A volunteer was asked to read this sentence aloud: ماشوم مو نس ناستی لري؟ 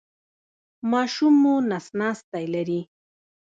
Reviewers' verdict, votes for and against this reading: accepted, 2, 1